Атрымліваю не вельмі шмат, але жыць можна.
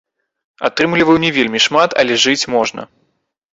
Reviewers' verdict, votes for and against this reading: rejected, 1, 2